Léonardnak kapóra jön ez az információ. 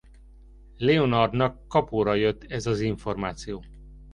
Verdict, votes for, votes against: rejected, 0, 2